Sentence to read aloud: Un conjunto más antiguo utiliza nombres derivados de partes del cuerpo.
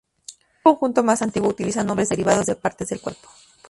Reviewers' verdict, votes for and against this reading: rejected, 0, 2